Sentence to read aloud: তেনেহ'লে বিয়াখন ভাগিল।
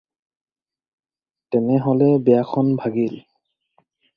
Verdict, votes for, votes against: accepted, 4, 0